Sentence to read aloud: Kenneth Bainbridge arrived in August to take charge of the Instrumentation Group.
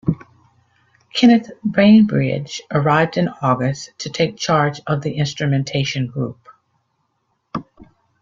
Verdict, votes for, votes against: accepted, 2, 0